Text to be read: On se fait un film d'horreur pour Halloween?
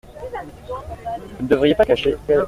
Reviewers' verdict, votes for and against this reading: rejected, 0, 2